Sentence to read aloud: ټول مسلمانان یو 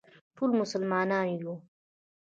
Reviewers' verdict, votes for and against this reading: rejected, 0, 2